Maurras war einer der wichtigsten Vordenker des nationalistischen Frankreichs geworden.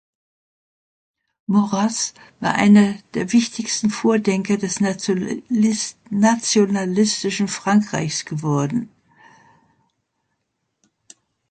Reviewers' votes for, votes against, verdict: 0, 2, rejected